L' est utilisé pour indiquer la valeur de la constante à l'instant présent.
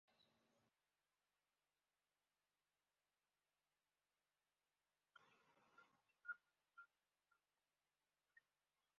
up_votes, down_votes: 0, 2